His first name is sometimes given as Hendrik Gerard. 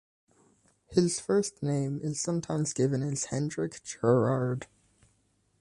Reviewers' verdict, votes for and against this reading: accepted, 2, 0